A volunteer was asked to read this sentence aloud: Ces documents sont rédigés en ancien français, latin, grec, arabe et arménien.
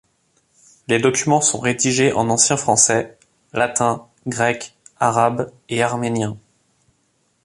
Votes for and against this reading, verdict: 1, 2, rejected